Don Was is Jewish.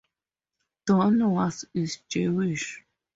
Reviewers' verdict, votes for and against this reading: accepted, 2, 0